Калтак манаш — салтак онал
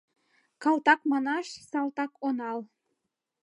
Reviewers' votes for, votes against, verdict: 2, 0, accepted